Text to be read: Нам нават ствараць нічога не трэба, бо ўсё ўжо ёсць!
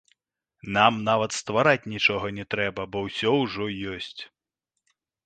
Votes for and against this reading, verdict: 1, 2, rejected